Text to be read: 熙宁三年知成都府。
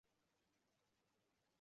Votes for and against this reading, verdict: 0, 3, rejected